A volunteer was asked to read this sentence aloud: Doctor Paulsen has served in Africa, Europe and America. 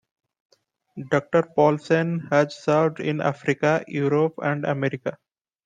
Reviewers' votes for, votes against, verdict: 2, 0, accepted